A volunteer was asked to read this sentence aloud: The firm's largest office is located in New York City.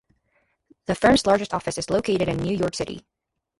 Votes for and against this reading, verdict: 2, 0, accepted